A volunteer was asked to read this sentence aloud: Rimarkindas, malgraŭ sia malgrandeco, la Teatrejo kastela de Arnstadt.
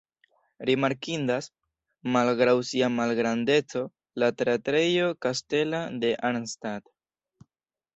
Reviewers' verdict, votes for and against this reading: rejected, 0, 2